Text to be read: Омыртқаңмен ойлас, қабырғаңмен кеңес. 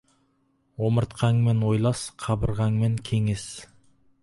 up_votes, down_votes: 4, 0